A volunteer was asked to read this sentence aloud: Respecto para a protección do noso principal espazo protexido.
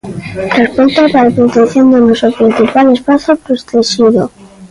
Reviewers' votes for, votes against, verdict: 0, 2, rejected